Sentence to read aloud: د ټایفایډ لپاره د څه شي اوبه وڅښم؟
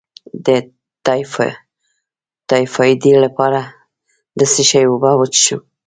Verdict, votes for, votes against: rejected, 2, 3